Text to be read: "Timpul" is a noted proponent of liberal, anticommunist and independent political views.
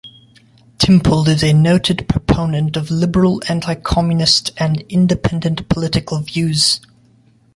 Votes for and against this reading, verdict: 3, 1, accepted